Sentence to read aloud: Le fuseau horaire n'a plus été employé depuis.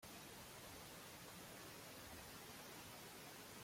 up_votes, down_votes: 0, 2